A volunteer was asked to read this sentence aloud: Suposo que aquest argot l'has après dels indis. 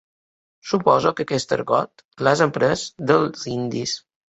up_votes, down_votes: 2, 0